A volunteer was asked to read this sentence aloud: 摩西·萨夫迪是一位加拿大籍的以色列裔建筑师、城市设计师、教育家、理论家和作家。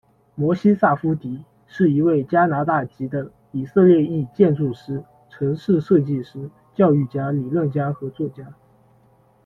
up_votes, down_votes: 2, 0